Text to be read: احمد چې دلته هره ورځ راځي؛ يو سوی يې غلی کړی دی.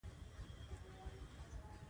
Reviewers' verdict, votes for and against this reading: rejected, 0, 2